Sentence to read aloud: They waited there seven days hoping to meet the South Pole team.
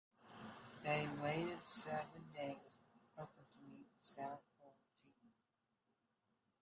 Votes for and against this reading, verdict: 0, 2, rejected